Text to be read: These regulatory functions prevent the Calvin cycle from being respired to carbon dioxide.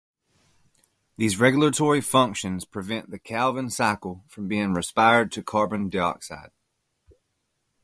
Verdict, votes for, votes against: accepted, 2, 0